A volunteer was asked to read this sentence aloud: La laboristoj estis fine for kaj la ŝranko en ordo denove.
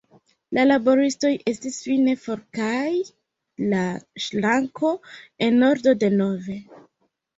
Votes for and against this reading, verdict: 1, 2, rejected